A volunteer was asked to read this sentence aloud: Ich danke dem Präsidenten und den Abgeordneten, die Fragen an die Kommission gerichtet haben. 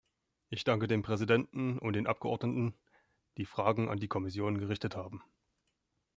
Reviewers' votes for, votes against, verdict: 2, 0, accepted